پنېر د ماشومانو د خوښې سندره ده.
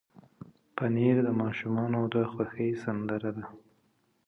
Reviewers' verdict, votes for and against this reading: accepted, 2, 0